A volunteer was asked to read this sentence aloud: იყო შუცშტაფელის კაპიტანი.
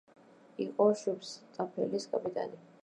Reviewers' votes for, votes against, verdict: 0, 2, rejected